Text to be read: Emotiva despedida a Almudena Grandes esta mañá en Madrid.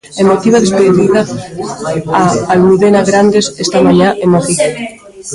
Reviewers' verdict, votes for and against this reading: rejected, 0, 2